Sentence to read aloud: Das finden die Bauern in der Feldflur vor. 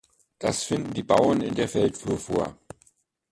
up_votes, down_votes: 1, 2